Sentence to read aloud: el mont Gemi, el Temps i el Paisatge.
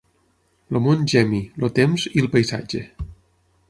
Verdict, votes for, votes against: accepted, 6, 0